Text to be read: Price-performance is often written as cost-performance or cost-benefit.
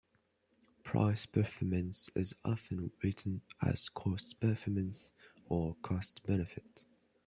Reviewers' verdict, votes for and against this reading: rejected, 1, 2